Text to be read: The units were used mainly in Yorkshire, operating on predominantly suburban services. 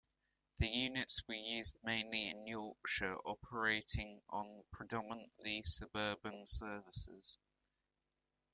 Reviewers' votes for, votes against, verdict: 0, 2, rejected